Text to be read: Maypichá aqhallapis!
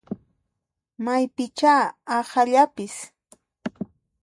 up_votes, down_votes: 1, 2